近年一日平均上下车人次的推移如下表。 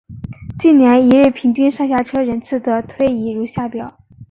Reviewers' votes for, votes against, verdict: 2, 0, accepted